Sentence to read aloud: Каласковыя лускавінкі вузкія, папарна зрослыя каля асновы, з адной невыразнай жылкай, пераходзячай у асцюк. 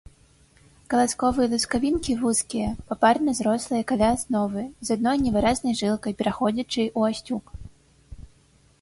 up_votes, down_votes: 2, 0